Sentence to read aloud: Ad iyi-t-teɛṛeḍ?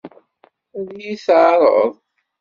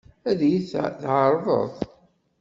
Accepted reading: first